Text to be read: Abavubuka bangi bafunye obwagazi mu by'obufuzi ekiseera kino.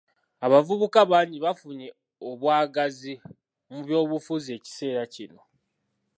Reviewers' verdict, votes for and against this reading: rejected, 1, 2